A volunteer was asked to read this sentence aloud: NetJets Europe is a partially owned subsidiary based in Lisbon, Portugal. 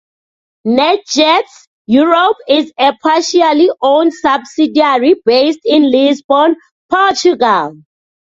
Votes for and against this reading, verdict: 2, 0, accepted